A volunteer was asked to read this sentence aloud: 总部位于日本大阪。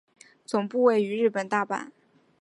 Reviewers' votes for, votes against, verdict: 2, 1, accepted